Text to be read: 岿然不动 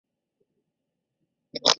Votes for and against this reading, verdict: 0, 2, rejected